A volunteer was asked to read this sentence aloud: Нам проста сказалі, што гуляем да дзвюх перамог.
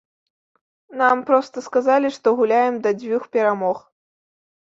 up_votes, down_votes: 2, 0